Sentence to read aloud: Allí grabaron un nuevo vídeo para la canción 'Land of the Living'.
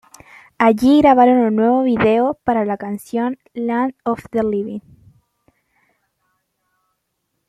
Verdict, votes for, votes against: accepted, 2, 0